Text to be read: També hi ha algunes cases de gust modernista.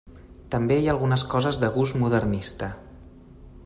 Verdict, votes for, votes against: rejected, 0, 2